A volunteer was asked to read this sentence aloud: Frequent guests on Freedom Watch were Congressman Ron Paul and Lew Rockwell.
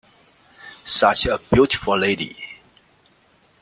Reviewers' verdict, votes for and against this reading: rejected, 0, 2